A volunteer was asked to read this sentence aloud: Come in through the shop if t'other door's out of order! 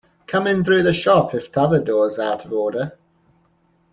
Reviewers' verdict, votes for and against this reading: accepted, 2, 1